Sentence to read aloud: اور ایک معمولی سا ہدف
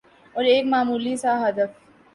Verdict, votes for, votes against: accepted, 4, 0